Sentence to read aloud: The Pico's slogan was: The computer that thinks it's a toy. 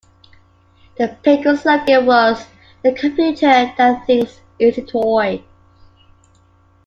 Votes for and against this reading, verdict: 0, 2, rejected